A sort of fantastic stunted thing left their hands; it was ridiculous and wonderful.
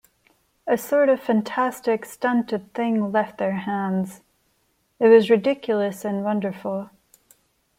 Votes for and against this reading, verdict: 2, 0, accepted